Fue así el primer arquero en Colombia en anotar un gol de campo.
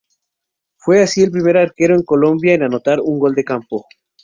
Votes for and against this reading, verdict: 0, 2, rejected